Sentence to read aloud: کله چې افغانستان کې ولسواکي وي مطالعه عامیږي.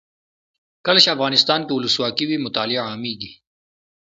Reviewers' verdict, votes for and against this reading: accepted, 2, 0